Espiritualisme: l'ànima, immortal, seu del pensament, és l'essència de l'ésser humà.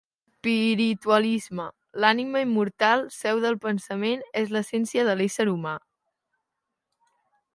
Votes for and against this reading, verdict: 0, 2, rejected